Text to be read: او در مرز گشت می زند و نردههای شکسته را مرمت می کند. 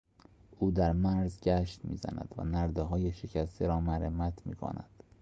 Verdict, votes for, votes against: accepted, 2, 0